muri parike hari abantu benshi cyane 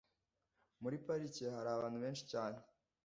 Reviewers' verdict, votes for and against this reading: accepted, 2, 0